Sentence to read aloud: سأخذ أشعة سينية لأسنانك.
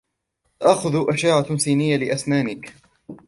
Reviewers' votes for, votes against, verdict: 0, 2, rejected